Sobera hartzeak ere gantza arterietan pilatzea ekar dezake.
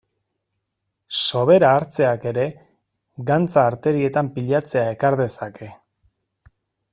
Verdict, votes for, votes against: accepted, 2, 0